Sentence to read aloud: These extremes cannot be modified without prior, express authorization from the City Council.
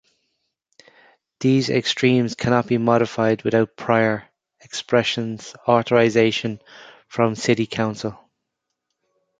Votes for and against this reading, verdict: 0, 2, rejected